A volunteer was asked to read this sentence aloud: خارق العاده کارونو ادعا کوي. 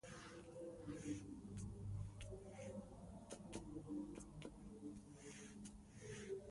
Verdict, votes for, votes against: rejected, 0, 2